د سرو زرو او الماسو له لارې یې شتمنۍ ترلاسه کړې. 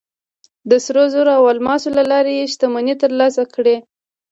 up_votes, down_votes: 2, 3